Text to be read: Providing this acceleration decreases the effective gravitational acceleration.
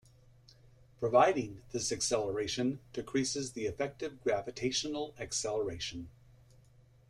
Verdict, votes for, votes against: rejected, 1, 2